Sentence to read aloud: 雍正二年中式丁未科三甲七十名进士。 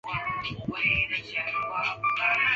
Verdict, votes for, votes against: rejected, 0, 2